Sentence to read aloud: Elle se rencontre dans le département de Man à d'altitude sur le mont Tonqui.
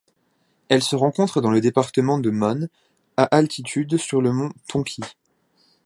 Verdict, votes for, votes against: rejected, 1, 2